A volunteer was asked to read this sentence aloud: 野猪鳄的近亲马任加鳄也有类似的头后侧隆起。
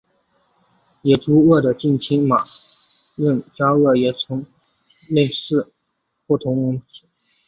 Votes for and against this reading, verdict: 0, 4, rejected